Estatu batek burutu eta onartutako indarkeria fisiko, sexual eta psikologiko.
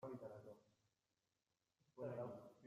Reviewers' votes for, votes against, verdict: 0, 2, rejected